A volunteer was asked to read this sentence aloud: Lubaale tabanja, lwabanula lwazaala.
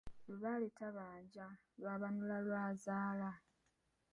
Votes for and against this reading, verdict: 2, 0, accepted